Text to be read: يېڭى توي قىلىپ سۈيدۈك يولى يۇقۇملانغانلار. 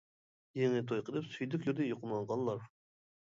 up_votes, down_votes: 0, 2